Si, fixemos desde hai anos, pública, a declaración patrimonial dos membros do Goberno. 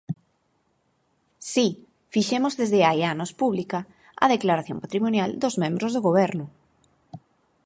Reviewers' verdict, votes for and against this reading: rejected, 0, 4